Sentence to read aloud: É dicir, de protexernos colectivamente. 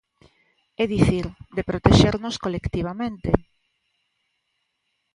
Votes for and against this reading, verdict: 2, 0, accepted